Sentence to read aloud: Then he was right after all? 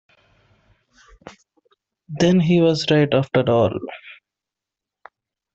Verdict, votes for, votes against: rejected, 0, 2